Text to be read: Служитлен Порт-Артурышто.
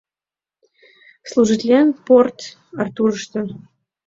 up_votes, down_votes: 2, 0